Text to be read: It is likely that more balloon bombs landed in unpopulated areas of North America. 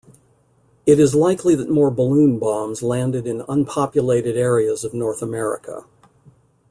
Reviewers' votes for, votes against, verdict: 2, 0, accepted